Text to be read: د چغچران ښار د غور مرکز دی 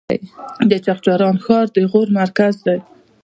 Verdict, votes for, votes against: rejected, 0, 2